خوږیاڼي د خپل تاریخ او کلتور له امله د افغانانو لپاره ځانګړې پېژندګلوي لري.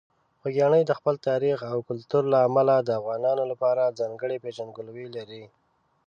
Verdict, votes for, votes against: accepted, 2, 1